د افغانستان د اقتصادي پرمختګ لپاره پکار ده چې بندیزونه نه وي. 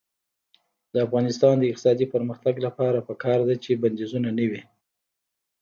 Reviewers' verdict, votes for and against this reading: rejected, 1, 2